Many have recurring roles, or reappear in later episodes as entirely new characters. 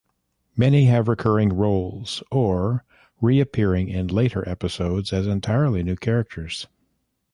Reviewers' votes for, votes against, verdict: 1, 2, rejected